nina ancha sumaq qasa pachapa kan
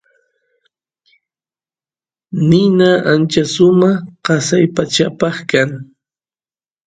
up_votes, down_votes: 2, 0